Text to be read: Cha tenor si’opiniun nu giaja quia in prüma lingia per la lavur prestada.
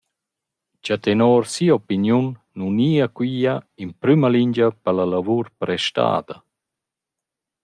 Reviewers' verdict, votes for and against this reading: rejected, 0, 2